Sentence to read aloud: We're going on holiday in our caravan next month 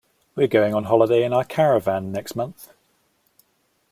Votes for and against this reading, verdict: 2, 0, accepted